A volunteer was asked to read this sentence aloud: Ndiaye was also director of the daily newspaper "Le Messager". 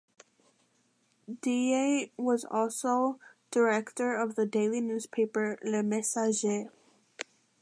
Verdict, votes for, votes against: accepted, 2, 0